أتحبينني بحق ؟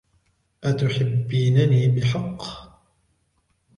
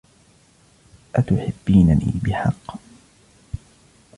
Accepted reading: first